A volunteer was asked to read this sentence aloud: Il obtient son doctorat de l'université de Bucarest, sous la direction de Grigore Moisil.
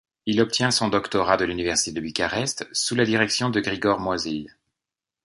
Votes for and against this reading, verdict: 1, 2, rejected